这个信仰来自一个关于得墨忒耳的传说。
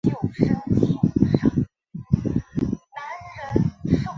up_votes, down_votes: 0, 4